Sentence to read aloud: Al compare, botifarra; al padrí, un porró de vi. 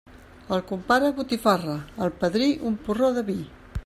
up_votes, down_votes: 2, 0